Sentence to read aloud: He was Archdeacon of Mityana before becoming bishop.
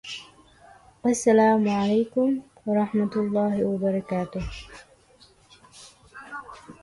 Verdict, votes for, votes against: rejected, 0, 2